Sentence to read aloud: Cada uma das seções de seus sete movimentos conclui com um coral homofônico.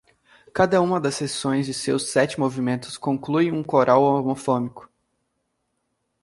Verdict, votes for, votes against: rejected, 1, 2